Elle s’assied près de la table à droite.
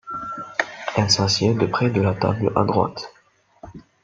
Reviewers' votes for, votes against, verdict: 0, 2, rejected